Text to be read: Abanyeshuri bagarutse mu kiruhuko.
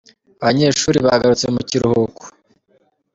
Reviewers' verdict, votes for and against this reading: accepted, 2, 0